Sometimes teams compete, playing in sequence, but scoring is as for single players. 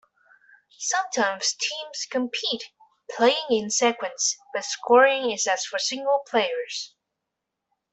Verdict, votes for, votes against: rejected, 1, 2